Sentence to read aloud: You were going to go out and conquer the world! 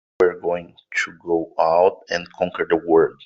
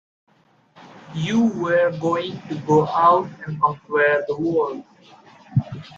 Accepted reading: second